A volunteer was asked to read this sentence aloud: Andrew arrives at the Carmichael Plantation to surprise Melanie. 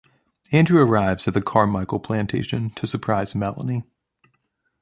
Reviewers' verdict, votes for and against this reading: accepted, 2, 0